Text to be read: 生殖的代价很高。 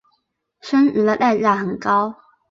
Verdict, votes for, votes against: rejected, 2, 4